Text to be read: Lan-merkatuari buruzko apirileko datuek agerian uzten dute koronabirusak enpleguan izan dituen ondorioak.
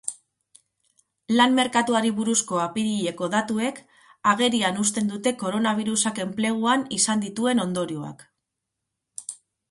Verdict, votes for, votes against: accepted, 2, 0